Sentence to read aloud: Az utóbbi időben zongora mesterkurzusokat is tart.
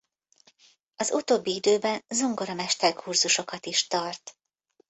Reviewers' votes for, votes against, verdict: 1, 2, rejected